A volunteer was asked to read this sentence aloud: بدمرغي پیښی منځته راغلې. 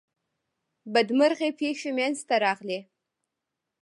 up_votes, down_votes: 1, 2